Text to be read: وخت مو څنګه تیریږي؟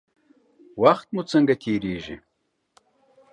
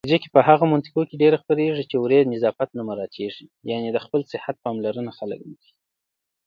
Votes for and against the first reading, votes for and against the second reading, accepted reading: 2, 0, 1, 2, first